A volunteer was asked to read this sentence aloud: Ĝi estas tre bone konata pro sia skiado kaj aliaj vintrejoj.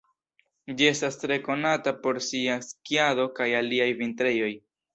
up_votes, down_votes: 1, 2